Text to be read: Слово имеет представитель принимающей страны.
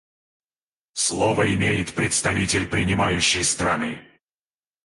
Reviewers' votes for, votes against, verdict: 2, 4, rejected